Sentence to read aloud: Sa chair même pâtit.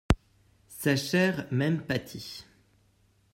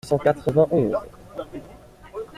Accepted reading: first